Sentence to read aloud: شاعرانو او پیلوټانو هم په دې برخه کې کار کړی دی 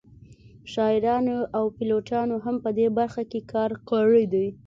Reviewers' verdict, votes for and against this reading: accepted, 2, 0